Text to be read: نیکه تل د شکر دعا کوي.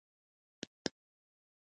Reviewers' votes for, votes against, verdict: 0, 2, rejected